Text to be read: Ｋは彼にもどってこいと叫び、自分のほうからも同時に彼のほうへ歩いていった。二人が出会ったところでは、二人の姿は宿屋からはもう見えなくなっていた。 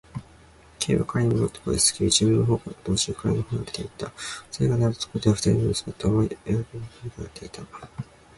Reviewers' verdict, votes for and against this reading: rejected, 0, 2